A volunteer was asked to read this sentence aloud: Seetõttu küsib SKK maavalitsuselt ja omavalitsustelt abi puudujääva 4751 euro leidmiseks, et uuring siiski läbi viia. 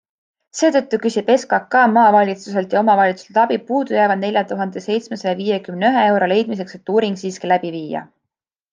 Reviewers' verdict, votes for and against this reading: rejected, 0, 2